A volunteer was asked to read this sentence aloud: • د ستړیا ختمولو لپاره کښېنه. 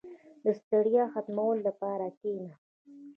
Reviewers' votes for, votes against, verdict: 2, 0, accepted